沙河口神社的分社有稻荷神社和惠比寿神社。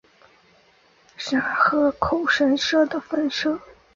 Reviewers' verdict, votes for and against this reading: rejected, 0, 2